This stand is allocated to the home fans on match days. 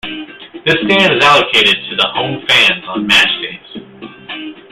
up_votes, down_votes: 2, 1